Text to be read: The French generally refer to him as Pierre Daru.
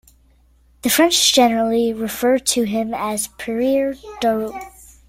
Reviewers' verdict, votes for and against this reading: rejected, 1, 2